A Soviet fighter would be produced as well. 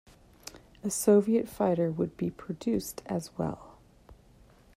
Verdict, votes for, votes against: accepted, 2, 1